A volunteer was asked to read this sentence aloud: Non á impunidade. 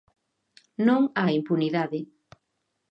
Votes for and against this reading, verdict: 2, 0, accepted